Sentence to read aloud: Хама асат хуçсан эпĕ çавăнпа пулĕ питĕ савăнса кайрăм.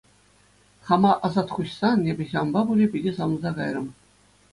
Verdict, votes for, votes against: accepted, 2, 0